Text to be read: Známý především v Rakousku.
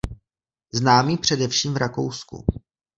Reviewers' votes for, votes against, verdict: 2, 1, accepted